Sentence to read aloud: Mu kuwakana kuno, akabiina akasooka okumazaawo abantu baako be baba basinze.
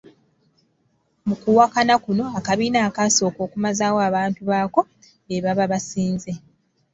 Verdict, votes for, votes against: accepted, 2, 0